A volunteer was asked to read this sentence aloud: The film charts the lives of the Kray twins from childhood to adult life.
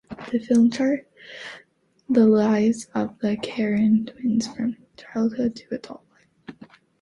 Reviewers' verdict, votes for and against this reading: rejected, 0, 2